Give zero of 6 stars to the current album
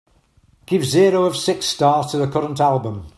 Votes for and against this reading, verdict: 0, 2, rejected